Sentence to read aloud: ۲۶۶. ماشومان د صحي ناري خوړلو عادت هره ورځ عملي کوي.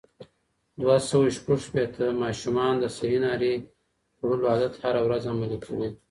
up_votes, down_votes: 0, 2